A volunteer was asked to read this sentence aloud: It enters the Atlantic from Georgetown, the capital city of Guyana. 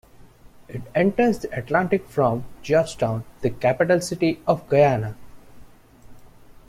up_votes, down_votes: 2, 0